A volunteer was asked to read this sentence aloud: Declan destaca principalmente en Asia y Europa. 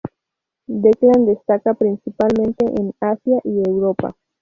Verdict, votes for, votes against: rejected, 0, 2